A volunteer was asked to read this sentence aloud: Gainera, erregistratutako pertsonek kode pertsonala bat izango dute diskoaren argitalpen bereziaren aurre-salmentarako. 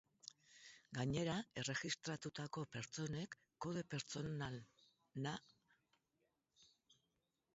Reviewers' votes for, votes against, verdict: 0, 4, rejected